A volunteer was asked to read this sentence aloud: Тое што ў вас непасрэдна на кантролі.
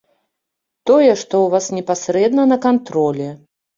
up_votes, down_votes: 2, 0